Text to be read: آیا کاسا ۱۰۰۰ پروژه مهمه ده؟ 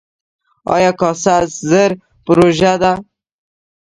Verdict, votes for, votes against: rejected, 0, 2